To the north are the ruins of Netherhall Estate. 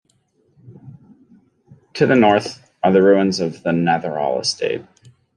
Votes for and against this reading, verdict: 0, 2, rejected